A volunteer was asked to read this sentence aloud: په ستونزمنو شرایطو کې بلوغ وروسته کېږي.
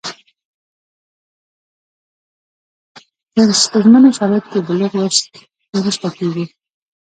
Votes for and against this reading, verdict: 0, 2, rejected